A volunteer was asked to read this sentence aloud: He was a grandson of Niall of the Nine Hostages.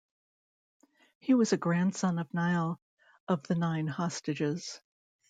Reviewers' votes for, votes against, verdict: 2, 0, accepted